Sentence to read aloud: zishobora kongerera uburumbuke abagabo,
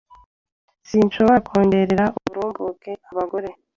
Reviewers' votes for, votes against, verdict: 1, 2, rejected